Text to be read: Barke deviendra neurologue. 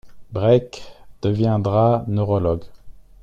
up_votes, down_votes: 0, 2